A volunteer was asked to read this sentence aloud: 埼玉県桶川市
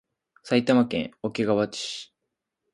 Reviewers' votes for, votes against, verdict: 2, 4, rejected